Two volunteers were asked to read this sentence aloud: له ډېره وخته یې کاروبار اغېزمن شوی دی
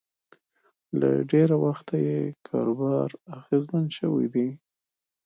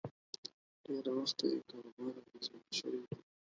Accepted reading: first